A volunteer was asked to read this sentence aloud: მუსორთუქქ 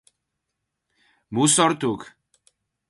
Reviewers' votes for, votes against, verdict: 0, 4, rejected